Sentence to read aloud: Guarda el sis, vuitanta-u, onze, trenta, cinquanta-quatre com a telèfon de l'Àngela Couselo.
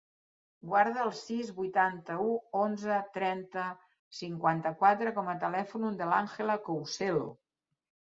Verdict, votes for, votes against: rejected, 0, 2